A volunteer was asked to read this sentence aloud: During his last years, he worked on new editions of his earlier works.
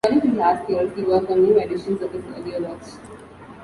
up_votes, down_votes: 1, 2